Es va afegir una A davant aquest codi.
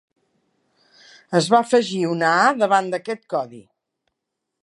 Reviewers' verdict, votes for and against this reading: rejected, 1, 2